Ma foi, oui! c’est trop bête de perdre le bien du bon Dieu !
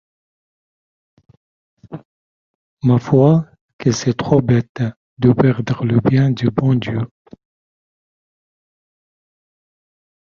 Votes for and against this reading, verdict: 1, 2, rejected